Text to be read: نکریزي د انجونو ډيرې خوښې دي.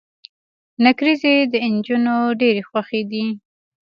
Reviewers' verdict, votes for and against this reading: accepted, 2, 1